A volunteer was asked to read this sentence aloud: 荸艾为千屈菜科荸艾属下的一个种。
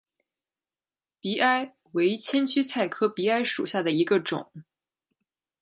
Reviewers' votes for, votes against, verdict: 2, 0, accepted